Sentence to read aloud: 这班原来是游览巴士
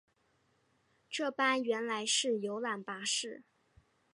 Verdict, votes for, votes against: accepted, 2, 0